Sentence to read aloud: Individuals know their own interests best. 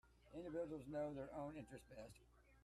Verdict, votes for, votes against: rejected, 1, 2